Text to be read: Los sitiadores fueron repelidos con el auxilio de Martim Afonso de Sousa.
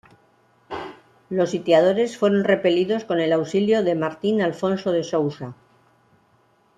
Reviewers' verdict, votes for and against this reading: rejected, 0, 2